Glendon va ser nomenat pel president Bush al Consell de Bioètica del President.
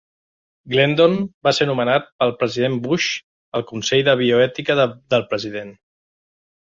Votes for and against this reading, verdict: 1, 2, rejected